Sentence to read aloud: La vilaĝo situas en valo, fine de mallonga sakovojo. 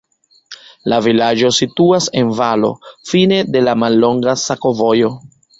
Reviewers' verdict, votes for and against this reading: rejected, 1, 2